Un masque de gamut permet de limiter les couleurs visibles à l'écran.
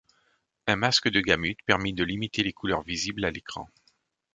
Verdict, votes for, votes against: rejected, 1, 2